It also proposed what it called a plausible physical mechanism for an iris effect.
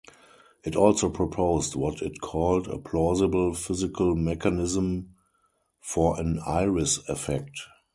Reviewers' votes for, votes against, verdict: 2, 2, rejected